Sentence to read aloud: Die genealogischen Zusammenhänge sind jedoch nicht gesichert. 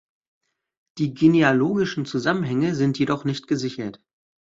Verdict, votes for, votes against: accepted, 3, 0